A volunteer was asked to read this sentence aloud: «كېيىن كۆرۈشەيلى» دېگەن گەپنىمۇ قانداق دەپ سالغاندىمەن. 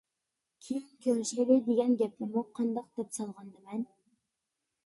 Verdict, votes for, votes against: rejected, 0, 2